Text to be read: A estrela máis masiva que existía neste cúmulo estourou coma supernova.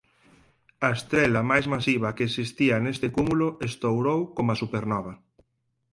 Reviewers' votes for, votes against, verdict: 4, 0, accepted